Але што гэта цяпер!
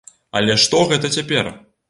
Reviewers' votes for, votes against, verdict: 2, 0, accepted